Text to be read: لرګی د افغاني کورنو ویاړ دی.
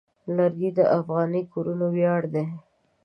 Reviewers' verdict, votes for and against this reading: rejected, 1, 2